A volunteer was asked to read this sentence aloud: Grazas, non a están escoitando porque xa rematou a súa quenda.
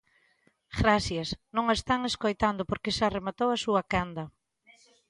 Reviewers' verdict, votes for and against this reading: rejected, 0, 3